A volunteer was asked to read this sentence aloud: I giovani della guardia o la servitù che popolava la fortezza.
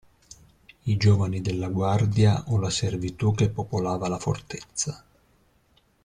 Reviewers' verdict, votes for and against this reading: accepted, 2, 0